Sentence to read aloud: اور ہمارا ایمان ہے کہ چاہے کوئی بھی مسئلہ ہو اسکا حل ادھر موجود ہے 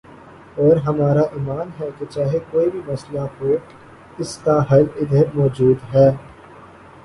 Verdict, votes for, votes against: accepted, 6, 0